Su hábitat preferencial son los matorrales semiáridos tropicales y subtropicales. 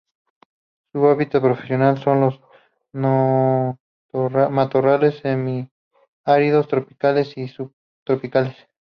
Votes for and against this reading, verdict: 0, 2, rejected